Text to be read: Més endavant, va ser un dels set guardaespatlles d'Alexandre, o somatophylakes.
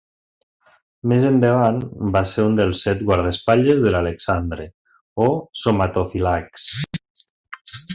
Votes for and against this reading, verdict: 0, 2, rejected